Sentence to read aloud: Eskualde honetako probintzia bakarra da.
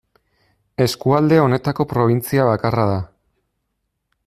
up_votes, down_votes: 2, 0